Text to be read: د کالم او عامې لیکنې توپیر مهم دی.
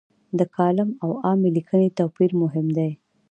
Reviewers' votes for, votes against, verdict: 2, 0, accepted